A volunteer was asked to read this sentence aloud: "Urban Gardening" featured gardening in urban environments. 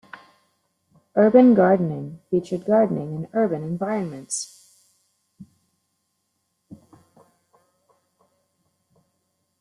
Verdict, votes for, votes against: accepted, 2, 1